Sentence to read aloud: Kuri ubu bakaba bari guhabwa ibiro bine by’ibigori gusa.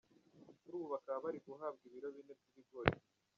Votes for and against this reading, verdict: 1, 2, rejected